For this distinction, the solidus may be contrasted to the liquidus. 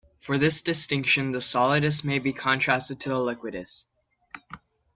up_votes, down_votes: 2, 0